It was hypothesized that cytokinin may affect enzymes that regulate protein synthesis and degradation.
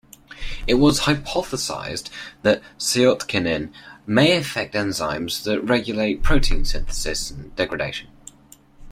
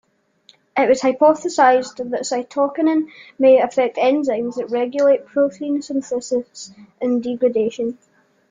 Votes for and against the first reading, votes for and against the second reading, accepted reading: 2, 1, 1, 2, first